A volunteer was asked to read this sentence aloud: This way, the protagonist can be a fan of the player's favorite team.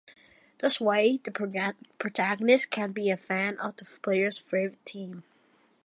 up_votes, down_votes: 1, 2